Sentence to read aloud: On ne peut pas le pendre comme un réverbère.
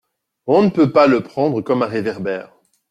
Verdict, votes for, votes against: accepted, 2, 0